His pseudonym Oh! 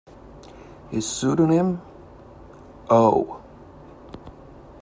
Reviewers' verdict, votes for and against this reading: accepted, 2, 0